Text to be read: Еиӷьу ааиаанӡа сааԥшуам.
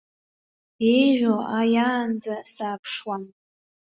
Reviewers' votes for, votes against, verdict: 1, 2, rejected